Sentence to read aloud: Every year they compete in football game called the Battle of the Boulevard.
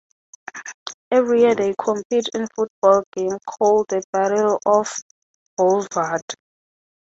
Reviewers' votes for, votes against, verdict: 0, 3, rejected